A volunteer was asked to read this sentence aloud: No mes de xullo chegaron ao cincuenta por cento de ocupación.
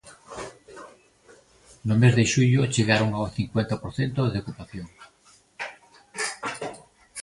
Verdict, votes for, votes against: accepted, 2, 0